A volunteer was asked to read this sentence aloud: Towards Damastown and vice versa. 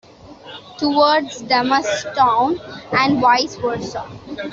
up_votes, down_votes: 2, 0